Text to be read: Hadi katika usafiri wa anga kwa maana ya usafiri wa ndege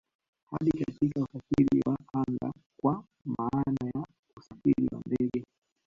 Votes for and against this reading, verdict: 1, 2, rejected